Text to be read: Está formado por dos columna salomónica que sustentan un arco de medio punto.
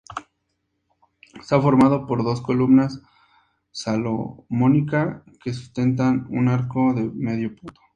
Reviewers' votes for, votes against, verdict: 2, 0, accepted